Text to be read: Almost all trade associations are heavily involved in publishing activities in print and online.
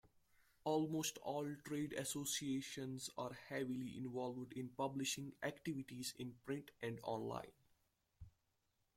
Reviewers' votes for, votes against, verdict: 1, 2, rejected